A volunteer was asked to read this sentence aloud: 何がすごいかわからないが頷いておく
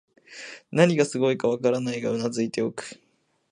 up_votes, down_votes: 2, 0